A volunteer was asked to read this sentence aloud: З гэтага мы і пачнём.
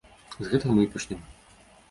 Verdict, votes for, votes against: rejected, 1, 2